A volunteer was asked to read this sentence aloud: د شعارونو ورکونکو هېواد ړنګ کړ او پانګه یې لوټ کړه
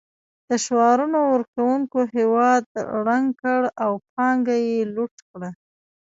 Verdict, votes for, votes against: rejected, 1, 2